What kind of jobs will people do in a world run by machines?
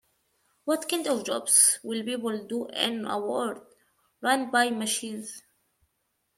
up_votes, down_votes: 1, 2